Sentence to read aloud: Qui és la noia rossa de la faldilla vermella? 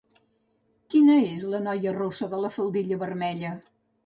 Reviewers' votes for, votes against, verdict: 0, 2, rejected